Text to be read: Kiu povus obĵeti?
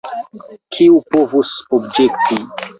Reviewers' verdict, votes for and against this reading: rejected, 1, 2